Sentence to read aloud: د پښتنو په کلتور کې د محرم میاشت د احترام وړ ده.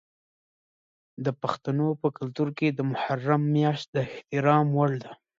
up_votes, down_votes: 0, 2